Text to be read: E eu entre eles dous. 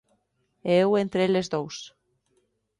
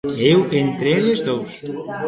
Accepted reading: first